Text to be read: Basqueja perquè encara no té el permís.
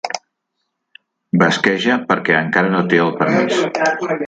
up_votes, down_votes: 0, 2